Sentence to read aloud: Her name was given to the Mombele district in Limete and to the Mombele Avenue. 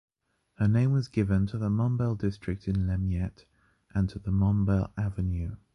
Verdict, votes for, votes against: accepted, 2, 0